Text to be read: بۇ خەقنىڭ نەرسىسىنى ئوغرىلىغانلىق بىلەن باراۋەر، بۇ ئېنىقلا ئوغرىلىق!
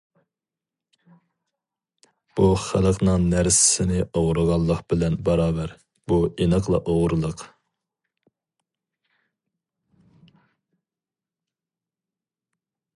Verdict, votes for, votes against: rejected, 2, 2